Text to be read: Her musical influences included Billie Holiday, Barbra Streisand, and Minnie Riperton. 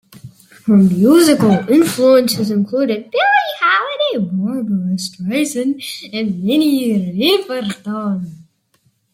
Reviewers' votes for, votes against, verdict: 0, 2, rejected